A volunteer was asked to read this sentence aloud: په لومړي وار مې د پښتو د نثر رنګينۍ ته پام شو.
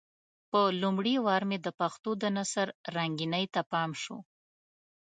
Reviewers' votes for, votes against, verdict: 2, 0, accepted